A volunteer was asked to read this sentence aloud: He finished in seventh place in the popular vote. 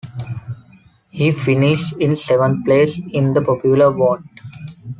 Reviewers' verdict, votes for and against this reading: accepted, 2, 0